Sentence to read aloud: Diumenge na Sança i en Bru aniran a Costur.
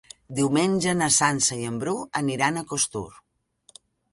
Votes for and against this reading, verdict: 4, 0, accepted